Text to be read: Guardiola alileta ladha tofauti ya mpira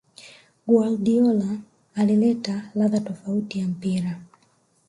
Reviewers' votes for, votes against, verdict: 2, 0, accepted